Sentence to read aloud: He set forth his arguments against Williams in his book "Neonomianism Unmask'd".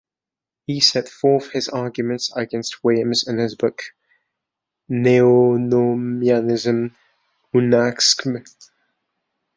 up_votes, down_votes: 1, 2